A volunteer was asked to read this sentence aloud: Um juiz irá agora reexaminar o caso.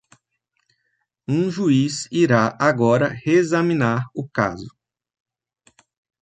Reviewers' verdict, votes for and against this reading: accepted, 2, 0